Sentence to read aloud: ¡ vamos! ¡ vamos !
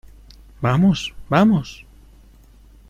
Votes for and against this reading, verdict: 2, 0, accepted